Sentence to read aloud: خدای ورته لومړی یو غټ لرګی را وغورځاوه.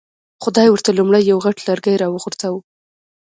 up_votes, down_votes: 2, 0